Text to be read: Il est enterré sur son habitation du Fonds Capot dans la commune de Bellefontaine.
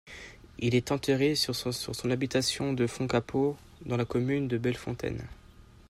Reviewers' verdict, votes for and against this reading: rejected, 1, 2